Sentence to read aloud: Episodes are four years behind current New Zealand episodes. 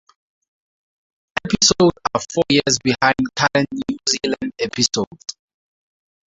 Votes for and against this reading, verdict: 2, 2, rejected